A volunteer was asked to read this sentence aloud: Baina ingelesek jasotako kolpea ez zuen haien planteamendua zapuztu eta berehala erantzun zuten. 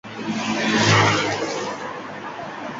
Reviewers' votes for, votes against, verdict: 0, 4, rejected